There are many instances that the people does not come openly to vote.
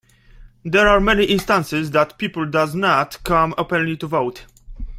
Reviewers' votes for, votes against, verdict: 1, 2, rejected